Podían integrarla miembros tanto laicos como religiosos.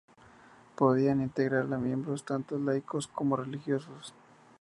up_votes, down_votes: 2, 0